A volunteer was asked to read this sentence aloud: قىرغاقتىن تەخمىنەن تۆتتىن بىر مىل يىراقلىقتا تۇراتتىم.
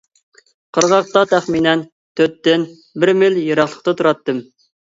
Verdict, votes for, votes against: rejected, 0, 2